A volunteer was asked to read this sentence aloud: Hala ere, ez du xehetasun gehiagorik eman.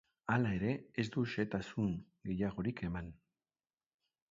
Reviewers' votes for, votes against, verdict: 2, 0, accepted